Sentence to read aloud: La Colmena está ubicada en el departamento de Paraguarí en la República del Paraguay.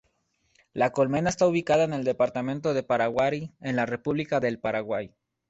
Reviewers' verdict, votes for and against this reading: accepted, 2, 0